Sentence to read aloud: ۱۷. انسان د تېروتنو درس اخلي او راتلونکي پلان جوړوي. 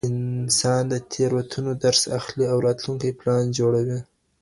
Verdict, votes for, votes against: rejected, 0, 2